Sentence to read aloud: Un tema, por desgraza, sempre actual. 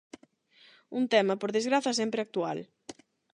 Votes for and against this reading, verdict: 8, 0, accepted